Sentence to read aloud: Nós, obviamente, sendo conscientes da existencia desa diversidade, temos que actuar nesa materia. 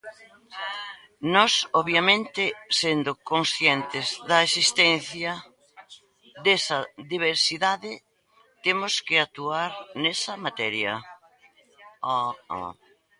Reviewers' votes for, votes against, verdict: 0, 2, rejected